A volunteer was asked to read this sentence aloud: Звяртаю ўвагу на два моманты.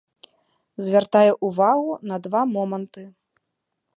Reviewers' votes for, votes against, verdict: 2, 1, accepted